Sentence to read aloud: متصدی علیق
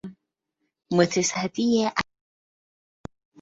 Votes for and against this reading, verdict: 0, 2, rejected